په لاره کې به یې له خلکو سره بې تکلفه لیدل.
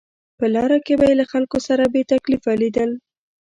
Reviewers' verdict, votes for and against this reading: rejected, 0, 2